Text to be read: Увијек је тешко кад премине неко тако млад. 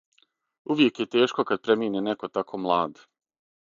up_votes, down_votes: 6, 0